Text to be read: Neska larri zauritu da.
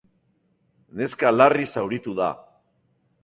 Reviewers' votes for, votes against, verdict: 2, 0, accepted